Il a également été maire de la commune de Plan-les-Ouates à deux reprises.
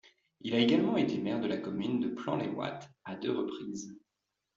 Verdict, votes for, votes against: accepted, 2, 0